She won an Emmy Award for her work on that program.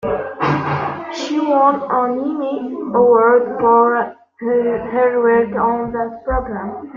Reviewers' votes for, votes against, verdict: 0, 2, rejected